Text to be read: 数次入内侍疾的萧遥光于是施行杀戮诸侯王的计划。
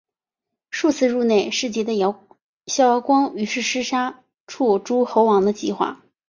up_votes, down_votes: 2, 0